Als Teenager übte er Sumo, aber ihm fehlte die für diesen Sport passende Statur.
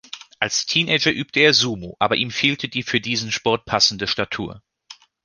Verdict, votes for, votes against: accepted, 2, 1